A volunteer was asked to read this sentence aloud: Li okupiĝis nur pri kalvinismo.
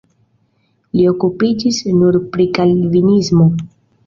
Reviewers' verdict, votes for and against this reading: accepted, 2, 0